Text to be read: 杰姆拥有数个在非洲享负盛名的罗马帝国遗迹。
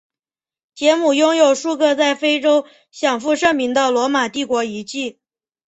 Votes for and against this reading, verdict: 3, 1, accepted